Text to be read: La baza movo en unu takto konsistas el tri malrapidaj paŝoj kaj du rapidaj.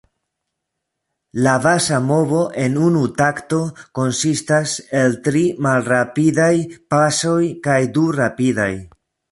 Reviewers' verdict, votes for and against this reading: rejected, 0, 2